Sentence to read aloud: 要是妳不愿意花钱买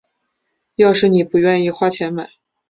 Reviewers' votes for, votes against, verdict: 2, 0, accepted